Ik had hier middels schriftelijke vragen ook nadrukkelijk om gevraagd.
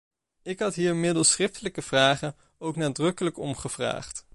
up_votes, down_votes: 2, 0